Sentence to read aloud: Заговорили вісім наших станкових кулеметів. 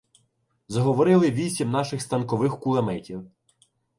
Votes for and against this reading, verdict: 2, 0, accepted